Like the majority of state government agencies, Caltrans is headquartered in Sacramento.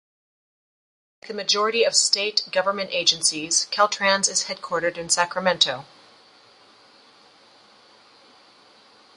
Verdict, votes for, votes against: rejected, 1, 2